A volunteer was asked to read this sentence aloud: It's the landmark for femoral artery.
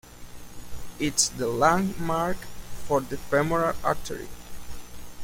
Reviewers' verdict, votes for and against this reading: rejected, 0, 2